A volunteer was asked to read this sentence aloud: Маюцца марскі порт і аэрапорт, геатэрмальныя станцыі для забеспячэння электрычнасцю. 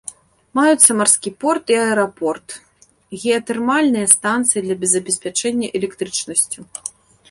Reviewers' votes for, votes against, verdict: 0, 2, rejected